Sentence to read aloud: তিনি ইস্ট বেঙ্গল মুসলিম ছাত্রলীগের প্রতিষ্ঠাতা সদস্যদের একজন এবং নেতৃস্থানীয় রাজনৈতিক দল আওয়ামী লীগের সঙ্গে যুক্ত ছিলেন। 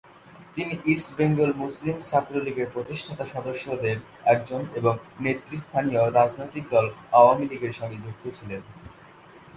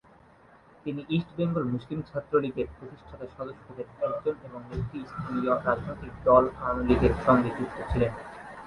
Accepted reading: first